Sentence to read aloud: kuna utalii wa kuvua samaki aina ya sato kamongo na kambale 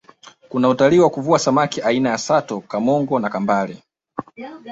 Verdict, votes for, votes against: accepted, 2, 0